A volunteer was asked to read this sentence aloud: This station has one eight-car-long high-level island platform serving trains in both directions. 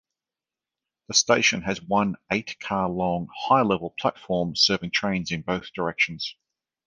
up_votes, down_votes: 0, 3